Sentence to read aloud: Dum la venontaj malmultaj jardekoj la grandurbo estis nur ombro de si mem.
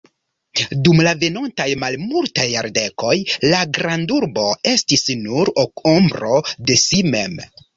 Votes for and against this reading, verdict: 0, 2, rejected